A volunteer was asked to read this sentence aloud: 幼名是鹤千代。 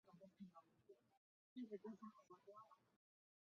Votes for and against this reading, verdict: 0, 2, rejected